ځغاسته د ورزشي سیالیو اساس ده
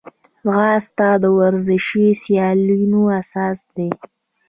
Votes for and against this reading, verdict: 2, 1, accepted